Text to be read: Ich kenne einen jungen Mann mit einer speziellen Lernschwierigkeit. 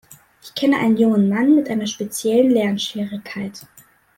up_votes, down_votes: 2, 0